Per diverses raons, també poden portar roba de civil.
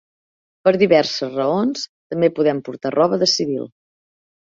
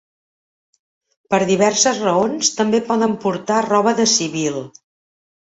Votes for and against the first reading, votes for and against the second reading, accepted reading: 2, 3, 3, 0, second